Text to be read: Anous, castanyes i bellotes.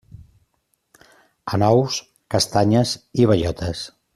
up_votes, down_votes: 2, 0